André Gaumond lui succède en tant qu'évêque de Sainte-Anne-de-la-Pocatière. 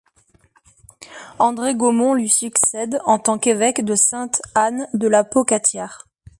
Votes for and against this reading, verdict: 2, 0, accepted